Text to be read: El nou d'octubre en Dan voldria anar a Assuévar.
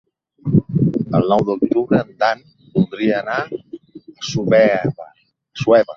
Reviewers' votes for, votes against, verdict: 0, 2, rejected